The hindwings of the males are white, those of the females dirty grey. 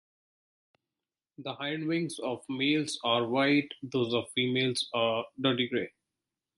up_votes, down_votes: 2, 3